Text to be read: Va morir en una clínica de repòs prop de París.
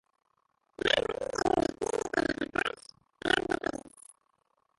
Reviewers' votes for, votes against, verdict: 0, 3, rejected